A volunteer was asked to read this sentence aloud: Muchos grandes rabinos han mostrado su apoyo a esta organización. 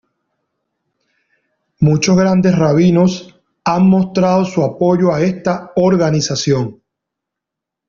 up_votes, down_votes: 2, 0